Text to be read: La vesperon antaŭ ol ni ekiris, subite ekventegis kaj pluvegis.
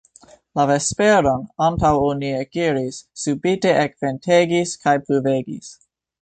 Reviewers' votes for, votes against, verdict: 1, 3, rejected